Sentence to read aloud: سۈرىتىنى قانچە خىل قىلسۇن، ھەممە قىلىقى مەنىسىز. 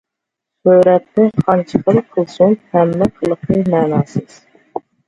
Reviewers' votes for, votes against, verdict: 0, 2, rejected